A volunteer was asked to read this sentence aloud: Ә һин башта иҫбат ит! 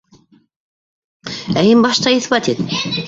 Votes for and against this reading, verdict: 0, 2, rejected